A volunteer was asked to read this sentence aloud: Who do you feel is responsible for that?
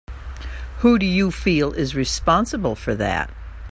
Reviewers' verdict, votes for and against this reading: accepted, 2, 0